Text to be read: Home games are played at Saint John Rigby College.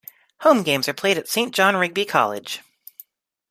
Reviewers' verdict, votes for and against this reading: rejected, 0, 2